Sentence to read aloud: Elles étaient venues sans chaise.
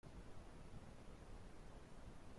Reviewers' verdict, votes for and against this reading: rejected, 0, 2